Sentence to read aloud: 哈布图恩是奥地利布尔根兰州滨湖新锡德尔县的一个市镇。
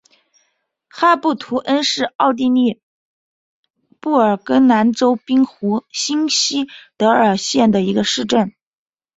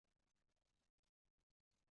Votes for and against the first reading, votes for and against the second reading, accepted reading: 3, 1, 0, 2, first